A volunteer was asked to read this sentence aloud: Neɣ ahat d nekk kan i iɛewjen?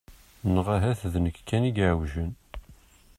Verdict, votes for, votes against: accepted, 2, 0